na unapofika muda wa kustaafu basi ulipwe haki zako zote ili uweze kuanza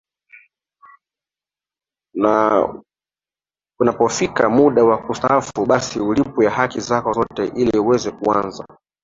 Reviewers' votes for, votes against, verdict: 2, 0, accepted